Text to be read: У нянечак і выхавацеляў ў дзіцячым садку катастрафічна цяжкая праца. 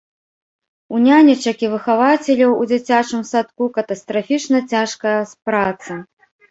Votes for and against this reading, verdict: 1, 2, rejected